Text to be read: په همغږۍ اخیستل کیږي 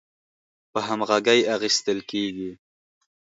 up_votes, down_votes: 4, 0